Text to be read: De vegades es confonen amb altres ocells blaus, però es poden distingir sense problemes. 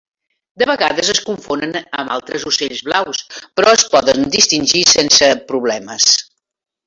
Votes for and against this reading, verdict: 3, 1, accepted